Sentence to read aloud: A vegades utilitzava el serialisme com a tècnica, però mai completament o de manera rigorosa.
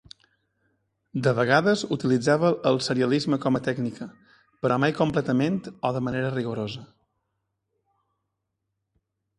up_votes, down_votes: 1, 2